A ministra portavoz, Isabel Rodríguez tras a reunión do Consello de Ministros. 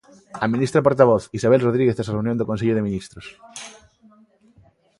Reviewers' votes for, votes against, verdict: 2, 1, accepted